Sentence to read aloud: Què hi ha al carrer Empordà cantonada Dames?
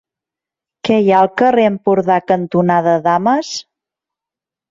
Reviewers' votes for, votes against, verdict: 3, 0, accepted